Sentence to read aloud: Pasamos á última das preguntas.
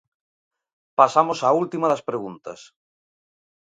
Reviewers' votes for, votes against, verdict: 2, 0, accepted